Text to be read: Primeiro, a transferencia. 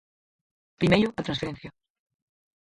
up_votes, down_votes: 4, 2